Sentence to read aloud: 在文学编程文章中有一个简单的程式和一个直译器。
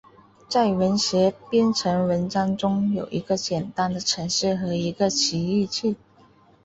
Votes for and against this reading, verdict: 1, 2, rejected